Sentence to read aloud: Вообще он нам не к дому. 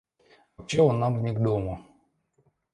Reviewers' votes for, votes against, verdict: 2, 0, accepted